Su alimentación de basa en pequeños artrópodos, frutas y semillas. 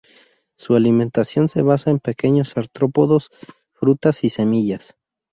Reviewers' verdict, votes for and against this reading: accepted, 4, 0